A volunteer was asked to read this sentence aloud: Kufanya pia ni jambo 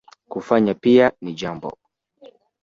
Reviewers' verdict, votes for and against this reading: accepted, 2, 1